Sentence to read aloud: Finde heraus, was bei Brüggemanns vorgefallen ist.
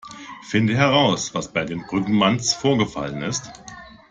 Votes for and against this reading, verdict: 0, 2, rejected